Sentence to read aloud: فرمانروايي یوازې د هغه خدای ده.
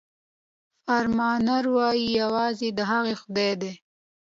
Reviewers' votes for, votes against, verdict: 2, 0, accepted